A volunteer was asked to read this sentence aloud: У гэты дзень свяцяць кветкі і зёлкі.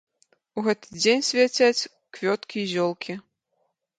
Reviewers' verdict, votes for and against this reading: rejected, 1, 2